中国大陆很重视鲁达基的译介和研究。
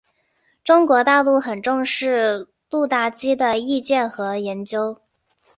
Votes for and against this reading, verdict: 2, 0, accepted